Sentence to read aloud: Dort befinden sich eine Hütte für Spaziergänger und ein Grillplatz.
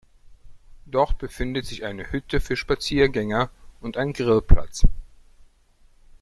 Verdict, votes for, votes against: rejected, 1, 2